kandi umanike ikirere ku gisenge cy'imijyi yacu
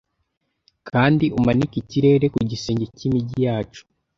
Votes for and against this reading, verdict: 2, 0, accepted